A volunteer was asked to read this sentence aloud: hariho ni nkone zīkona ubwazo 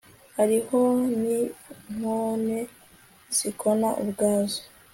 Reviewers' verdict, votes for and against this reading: accepted, 2, 0